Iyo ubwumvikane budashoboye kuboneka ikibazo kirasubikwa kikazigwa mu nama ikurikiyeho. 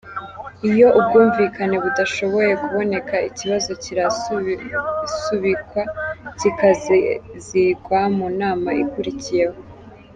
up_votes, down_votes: 1, 2